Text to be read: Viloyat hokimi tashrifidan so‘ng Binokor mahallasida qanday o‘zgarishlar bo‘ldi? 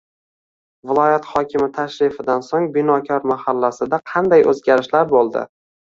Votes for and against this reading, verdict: 2, 0, accepted